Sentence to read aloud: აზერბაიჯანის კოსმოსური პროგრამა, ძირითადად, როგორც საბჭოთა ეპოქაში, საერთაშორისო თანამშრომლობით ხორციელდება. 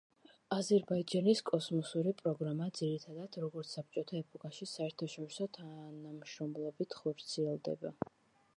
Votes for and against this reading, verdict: 2, 0, accepted